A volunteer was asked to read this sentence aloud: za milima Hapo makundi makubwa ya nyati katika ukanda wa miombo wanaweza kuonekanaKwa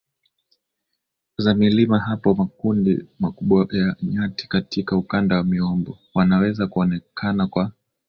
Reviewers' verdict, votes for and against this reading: accepted, 2, 0